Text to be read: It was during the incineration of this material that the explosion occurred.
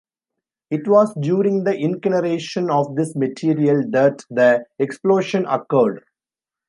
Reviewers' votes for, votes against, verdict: 0, 2, rejected